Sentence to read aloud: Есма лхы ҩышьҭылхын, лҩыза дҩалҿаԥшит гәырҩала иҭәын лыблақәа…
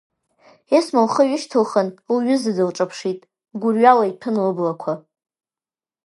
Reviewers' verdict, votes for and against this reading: rejected, 0, 2